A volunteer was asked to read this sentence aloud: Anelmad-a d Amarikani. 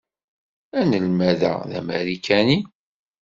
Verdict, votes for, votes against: accepted, 3, 0